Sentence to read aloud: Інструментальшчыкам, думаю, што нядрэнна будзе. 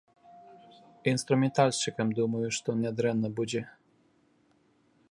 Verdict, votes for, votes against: accepted, 2, 0